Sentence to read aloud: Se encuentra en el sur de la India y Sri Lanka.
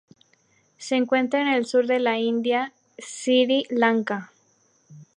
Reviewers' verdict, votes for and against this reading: accepted, 2, 0